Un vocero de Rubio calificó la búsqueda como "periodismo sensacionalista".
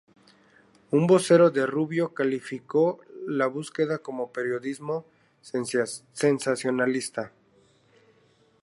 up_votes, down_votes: 0, 2